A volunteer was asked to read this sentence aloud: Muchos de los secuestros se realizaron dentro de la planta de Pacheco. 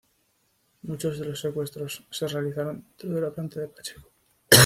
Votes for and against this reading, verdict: 1, 2, rejected